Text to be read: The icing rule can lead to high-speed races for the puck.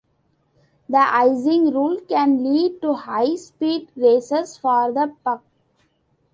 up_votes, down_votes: 2, 1